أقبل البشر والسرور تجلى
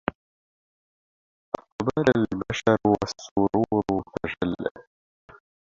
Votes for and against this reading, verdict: 0, 2, rejected